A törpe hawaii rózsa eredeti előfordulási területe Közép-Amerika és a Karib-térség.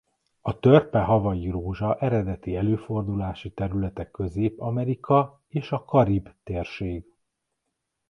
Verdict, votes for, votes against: accepted, 2, 0